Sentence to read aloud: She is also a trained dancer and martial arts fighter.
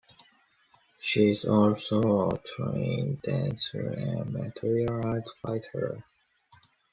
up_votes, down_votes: 1, 2